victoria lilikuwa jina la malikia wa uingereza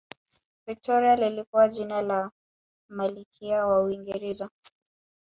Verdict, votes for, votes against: accepted, 2, 0